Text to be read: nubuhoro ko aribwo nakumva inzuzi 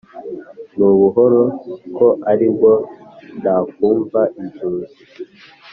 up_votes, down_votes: 3, 1